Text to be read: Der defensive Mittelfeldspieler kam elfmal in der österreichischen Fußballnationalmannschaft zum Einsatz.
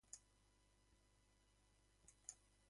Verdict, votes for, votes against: rejected, 0, 2